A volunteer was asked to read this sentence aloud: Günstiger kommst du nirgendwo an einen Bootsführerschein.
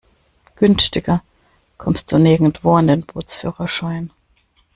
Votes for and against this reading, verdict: 0, 2, rejected